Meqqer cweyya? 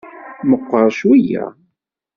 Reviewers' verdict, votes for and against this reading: accepted, 2, 0